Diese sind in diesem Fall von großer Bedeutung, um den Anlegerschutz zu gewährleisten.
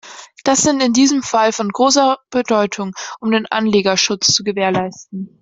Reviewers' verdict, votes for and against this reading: rejected, 1, 2